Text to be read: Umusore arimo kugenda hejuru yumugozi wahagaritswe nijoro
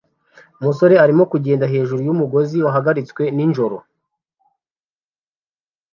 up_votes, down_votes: 1, 2